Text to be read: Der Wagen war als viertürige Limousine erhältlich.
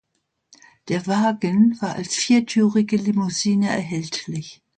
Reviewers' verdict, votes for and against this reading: accepted, 2, 0